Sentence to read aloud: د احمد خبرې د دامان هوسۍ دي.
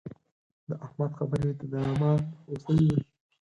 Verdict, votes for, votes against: accepted, 4, 0